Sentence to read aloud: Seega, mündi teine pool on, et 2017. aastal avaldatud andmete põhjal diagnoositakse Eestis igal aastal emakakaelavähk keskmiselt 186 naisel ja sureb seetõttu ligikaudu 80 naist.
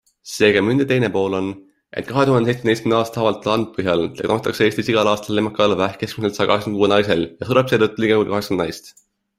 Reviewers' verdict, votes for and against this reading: rejected, 0, 2